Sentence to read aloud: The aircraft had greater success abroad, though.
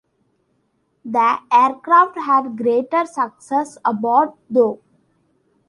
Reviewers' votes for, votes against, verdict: 0, 3, rejected